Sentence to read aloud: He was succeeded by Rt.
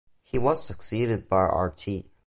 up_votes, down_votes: 0, 2